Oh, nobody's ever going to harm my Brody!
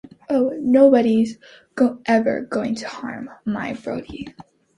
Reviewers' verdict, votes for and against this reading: rejected, 0, 2